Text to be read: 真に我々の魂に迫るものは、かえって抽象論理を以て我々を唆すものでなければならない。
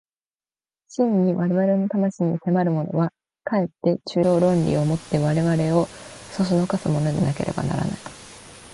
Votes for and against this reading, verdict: 1, 2, rejected